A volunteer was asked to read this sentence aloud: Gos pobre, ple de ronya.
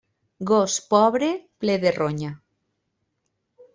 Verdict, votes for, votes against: accepted, 2, 0